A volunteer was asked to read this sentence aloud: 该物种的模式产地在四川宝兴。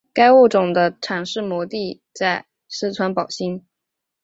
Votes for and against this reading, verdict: 3, 3, rejected